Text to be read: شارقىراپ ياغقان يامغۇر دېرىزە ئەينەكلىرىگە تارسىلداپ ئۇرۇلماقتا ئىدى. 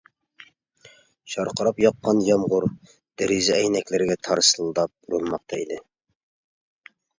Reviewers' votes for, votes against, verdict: 0, 2, rejected